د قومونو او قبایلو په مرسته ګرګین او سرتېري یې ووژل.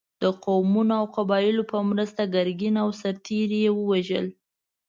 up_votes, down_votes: 0, 2